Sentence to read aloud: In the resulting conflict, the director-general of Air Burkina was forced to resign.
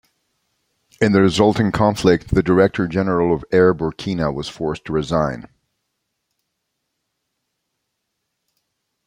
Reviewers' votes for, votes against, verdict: 2, 0, accepted